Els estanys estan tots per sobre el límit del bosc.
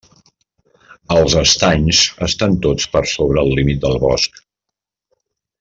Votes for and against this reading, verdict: 3, 0, accepted